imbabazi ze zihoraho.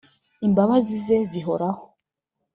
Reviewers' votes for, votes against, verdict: 2, 0, accepted